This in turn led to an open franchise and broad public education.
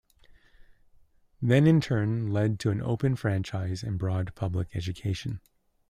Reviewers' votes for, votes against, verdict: 0, 2, rejected